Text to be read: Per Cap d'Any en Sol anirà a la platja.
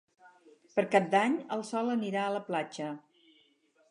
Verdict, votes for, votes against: accepted, 4, 2